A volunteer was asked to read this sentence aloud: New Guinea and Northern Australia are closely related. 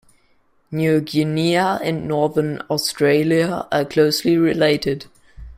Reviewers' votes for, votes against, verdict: 0, 2, rejected